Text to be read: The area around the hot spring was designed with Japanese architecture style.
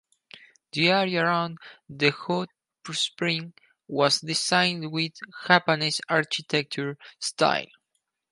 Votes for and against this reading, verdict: 0, 4, rejected